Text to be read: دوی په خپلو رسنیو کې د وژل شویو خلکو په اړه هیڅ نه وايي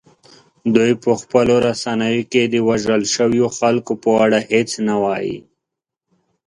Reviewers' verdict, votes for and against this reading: accepted, 3, 0